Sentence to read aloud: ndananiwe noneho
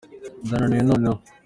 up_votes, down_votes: 2, 0